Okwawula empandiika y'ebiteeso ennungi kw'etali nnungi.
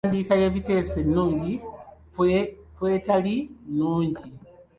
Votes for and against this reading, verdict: 1, 2, rejected